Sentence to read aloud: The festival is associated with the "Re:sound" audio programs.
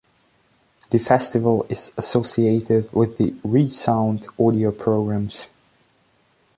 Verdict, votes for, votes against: accepted, 2, 0